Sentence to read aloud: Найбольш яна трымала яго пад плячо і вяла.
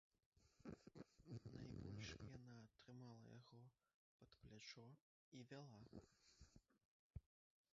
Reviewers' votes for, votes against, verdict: 0, 2, rejected